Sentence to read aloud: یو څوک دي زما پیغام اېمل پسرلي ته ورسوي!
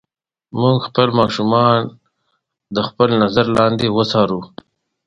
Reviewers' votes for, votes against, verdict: 1, 2, rejected